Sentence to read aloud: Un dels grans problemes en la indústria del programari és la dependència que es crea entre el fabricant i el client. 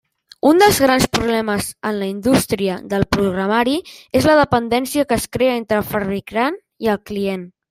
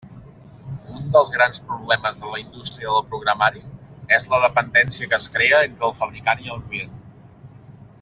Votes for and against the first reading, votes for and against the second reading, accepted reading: 0, 2, 2, 0, second